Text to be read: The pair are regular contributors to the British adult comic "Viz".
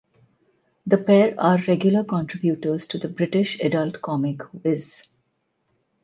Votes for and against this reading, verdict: 4, 0, accepted